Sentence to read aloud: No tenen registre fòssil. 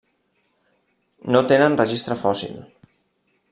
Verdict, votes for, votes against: accepted, 3, 0